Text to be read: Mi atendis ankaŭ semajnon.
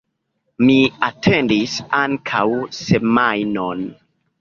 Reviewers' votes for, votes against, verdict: 1, 2, rejected